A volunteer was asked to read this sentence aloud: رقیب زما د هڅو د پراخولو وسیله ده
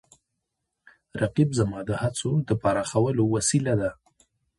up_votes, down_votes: 0, 2